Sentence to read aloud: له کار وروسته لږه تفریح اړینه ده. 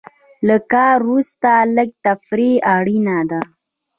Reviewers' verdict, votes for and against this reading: accepted, 2, 0